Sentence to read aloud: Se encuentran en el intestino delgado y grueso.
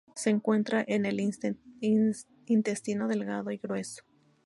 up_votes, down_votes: 0, 2